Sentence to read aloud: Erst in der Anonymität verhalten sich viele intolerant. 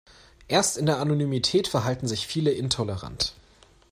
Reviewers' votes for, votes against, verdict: 2, 0, accepted